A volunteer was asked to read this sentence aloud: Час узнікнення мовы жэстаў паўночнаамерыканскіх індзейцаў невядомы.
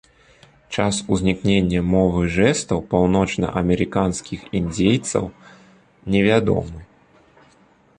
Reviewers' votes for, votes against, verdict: 0, 2, rejected